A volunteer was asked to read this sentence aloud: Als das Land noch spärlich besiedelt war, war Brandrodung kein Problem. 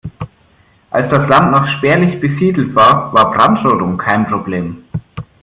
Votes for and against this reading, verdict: 2, 0, accepted